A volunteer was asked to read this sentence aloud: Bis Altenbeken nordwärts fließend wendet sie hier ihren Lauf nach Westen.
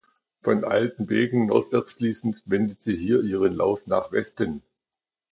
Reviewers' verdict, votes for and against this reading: rejected, 0, 2